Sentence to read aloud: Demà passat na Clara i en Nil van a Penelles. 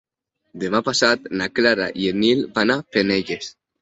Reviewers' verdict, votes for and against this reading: accepted, 2, 0